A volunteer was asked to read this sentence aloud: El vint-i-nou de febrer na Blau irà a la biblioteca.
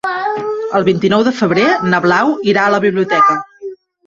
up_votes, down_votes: 1, 2